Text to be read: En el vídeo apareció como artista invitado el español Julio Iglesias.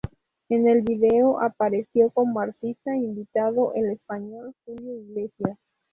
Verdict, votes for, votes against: accepted, 2, 0